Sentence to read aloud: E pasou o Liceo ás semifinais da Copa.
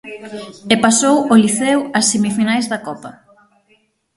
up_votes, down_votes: 3, 6